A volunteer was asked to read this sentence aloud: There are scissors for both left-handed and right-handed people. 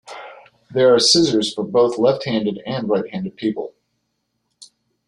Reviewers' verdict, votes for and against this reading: accepted, 2, 0